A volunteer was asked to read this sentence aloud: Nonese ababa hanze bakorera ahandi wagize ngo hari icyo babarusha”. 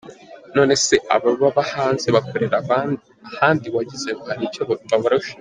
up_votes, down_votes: 0, 2